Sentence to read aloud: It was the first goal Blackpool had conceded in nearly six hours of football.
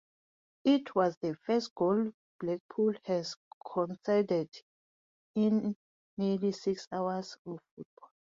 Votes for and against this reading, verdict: 0, 2, rejected